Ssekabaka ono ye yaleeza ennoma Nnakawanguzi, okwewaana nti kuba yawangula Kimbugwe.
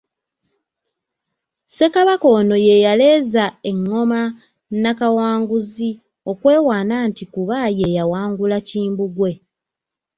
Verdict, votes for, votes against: accepted, 2, 0